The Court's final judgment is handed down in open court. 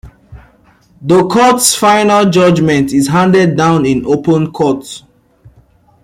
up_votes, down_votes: 1, 2